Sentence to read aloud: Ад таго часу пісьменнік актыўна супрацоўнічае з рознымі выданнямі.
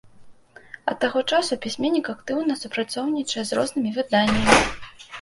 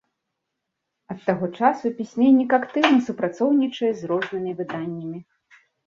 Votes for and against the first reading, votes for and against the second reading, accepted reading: 1, 2, 2, 0, second